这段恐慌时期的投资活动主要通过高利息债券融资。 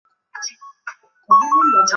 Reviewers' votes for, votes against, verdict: 0, 3, rejected